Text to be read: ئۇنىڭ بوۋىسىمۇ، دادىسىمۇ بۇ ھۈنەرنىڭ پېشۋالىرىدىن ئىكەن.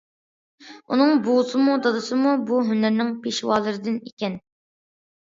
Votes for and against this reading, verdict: 2, 0, accepted